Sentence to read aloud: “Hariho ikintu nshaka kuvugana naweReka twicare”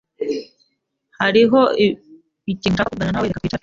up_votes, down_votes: 0, 2